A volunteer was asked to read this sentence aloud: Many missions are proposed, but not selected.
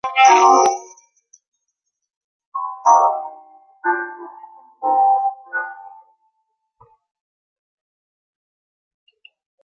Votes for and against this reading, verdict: 0, 2, rejected